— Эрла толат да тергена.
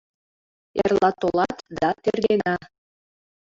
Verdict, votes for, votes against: accepted, 2, 1